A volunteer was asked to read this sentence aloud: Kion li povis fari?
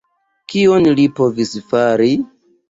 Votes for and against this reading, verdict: 2, 0, accepted